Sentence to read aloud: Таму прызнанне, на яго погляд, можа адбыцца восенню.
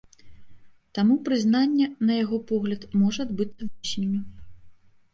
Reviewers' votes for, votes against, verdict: 1, 2, rejected